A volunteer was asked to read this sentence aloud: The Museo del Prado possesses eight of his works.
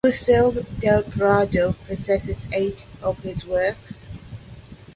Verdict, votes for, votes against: rejected, 0, 2